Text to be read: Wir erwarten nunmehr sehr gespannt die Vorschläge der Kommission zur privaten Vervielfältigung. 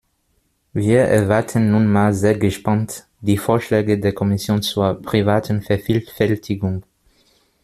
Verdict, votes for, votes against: accepted, 2, 1